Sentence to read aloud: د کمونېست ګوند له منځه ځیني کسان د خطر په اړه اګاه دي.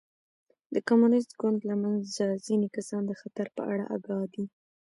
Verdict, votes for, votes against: accepted, 2, 0